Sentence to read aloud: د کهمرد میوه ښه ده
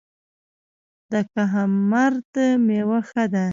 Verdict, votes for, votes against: rejected, 1, 2